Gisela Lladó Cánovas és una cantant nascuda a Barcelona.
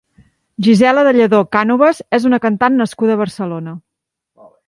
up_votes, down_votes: 1, 2